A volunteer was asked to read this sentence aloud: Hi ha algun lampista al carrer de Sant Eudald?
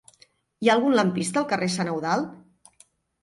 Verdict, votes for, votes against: rejected, 0, 2